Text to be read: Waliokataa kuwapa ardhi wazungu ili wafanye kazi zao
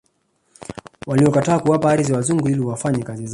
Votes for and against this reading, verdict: 0, 2, rejected